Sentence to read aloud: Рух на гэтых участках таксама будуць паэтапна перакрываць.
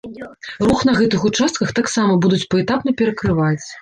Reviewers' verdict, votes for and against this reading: accepted, 2, 0